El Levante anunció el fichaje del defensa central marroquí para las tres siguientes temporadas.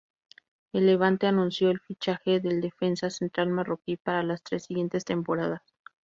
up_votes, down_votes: 2, 0